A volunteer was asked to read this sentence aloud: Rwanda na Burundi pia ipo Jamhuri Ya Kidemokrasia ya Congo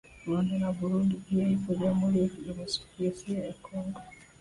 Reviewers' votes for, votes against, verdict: 2, 0, accepted